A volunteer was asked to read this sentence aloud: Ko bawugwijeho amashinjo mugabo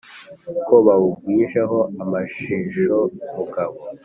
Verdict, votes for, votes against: accepted, 2, 0